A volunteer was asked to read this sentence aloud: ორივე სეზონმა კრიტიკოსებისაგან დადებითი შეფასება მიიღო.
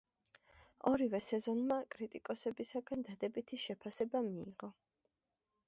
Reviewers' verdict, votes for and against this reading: rejected, 1, 2